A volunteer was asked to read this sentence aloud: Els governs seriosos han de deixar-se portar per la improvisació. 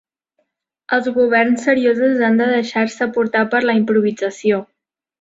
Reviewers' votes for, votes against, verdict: 2, 0, accepted